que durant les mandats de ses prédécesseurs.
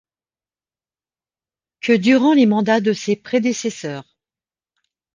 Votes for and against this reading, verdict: 2, 0, accepted